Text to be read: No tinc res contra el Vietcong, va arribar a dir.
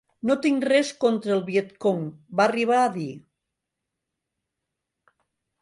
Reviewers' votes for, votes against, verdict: 3, 0, accepted